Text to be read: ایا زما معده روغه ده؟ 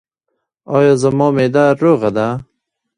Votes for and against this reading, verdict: 2, 1, accepted